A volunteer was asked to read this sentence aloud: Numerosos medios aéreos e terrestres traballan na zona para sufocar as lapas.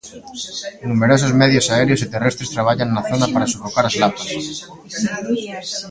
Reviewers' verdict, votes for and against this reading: rejected, 1, 2